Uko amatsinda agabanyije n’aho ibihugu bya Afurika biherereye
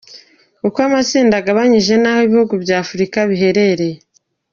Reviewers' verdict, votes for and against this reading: accepted, 2, 0